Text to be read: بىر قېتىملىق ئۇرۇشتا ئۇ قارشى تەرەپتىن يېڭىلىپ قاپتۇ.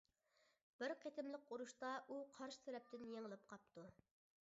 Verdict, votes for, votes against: accepted, 2, 0